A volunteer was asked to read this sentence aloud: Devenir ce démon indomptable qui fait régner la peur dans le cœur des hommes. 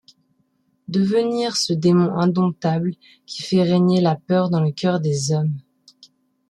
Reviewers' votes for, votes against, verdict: 2, 0, accepted